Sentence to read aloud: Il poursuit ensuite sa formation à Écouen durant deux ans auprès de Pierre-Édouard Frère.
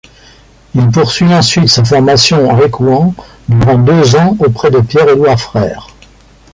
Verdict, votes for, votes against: rejected, 1, 2